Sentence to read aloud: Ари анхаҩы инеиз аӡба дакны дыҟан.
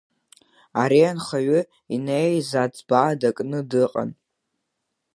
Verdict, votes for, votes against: accepted, 3, 1